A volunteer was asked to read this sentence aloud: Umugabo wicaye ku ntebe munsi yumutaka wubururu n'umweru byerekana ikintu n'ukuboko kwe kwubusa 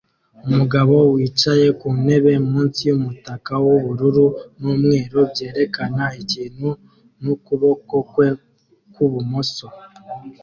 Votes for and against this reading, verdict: 1, 2, rejected